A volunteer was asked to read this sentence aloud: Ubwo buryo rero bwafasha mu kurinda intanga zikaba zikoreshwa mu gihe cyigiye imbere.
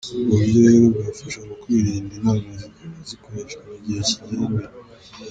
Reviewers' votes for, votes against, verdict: 1, 2, rejected